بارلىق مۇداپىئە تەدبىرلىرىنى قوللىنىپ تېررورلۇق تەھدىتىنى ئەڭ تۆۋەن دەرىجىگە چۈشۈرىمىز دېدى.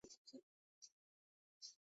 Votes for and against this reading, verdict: 0, 2, rejected